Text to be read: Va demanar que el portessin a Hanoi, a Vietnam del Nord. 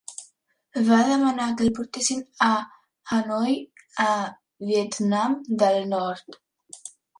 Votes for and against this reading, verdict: 2, 0, accepted